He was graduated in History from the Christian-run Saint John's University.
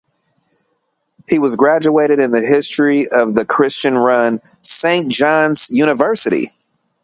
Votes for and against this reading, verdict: 0, 2, rejected